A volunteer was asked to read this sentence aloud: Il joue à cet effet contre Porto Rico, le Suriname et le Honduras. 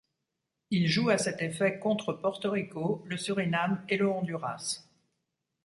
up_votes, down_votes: 2, 0